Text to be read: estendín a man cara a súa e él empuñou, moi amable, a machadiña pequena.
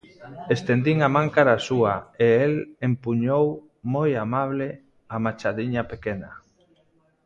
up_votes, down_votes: 2, 0